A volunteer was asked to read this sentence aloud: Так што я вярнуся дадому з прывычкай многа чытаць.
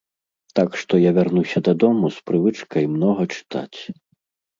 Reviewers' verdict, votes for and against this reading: accepted, 2, 0